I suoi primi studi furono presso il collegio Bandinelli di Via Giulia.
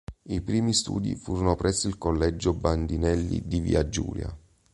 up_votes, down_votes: 3, 4